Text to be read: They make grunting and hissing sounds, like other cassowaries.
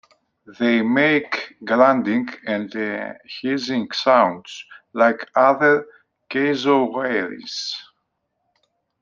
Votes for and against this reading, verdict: 2, 1, accepted